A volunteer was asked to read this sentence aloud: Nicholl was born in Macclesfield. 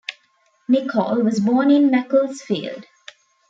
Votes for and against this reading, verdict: 2, 0, accepted